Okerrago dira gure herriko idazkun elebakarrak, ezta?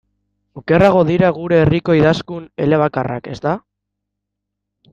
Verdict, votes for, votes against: accepted, 2, 0